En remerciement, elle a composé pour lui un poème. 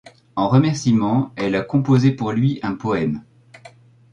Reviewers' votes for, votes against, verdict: 2, 0, accepted